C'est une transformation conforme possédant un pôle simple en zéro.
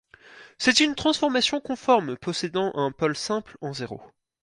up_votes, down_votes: 4, 0